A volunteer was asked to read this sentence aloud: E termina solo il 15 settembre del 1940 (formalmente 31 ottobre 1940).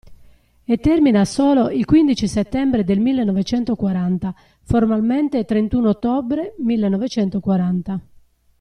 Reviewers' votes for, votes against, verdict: 0, 2, rejected